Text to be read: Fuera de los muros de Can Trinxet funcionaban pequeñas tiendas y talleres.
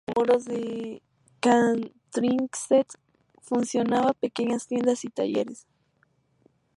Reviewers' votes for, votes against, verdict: 0, 2, rejected